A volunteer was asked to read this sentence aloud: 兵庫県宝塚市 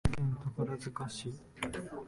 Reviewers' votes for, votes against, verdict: 0, 2, rejected